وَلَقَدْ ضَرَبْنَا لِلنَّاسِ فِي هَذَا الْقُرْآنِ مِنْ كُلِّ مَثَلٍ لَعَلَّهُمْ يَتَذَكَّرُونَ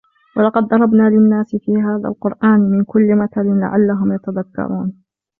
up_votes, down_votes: 2, 1